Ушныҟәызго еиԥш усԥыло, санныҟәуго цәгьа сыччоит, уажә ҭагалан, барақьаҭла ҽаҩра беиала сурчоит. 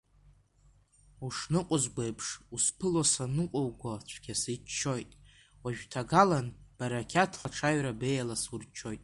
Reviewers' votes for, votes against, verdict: 2, 1, accepted